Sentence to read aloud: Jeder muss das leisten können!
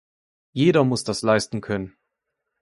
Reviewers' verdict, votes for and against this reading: accepted, 2, 0